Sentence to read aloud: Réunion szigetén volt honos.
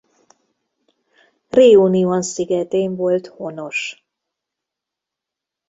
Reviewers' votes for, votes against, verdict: 1, 2, rejected